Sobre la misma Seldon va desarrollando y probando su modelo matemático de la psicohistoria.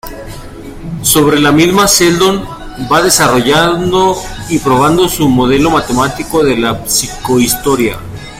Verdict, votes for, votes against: rejected, 0, 2